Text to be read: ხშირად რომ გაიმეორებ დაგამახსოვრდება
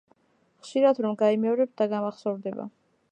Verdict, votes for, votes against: accepted, 2, 0